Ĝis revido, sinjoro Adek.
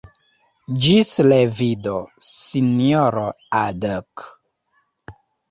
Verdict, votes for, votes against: rejected, 2, 3